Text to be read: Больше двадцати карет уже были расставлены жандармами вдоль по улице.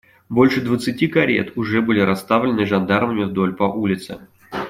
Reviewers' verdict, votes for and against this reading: accepted, 2, 0